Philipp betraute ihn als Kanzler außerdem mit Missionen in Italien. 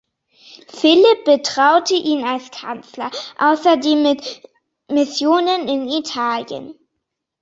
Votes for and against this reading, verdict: 2, 1, accepted